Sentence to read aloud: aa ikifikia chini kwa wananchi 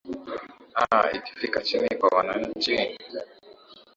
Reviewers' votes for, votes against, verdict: 3, 1, accepted